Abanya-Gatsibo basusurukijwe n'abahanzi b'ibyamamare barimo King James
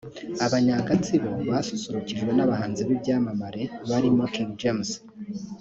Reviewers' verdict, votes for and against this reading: accepted, 2, 0